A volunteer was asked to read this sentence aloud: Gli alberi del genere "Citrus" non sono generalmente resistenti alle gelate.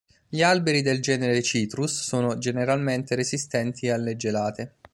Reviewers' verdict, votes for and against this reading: rejected, 0, 2